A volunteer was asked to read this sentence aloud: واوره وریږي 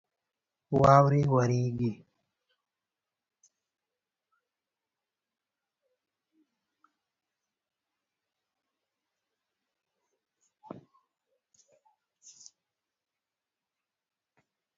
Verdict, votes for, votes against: rejected, 0, 4